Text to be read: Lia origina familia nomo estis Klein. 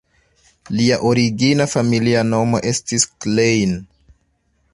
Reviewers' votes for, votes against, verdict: 1, 2, rejected